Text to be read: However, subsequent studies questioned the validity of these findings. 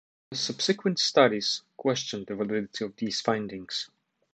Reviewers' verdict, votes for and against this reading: rejected, 1, 2